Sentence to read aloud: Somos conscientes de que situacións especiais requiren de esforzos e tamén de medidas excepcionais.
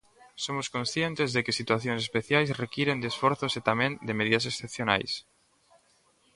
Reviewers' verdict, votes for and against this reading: accepted, 2, 0